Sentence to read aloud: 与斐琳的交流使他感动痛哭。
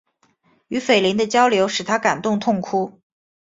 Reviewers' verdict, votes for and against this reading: accepted, 2, 0